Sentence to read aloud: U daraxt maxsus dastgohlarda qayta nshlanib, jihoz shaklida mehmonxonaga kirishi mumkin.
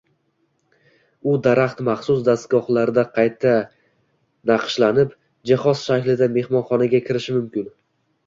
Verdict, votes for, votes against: accepted, 2, 0